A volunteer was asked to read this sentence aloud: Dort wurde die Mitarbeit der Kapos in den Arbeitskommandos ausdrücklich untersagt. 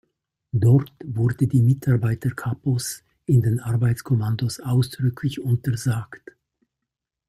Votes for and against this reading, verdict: 2, 1, accepted